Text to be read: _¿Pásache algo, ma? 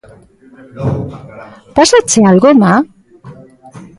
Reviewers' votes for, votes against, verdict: 2, 0, accepted